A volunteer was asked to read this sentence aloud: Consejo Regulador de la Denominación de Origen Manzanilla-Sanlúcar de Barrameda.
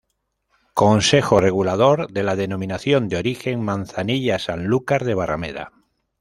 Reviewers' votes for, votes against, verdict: 2, 0, accepted